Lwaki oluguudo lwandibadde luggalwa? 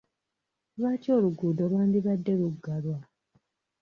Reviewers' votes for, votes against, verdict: 2, 0, accepted